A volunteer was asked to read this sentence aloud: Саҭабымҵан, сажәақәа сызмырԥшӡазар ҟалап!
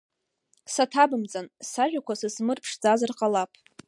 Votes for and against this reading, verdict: 0, 2, rejected